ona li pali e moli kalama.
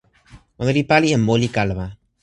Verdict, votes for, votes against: accepted, 2, 0